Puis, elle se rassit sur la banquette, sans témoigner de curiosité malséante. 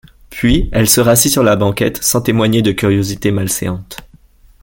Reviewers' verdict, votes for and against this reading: accepted, 2, 0